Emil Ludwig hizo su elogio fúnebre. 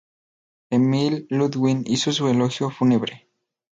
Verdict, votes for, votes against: accepted, 2, 0